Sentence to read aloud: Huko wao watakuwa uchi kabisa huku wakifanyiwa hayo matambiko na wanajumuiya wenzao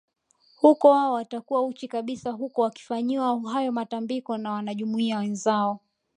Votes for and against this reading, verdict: 1, 2, rejected